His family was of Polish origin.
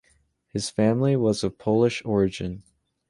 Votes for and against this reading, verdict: 2, 0, accepted